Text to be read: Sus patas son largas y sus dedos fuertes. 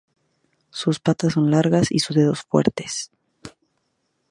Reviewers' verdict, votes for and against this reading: accepted, 4, 0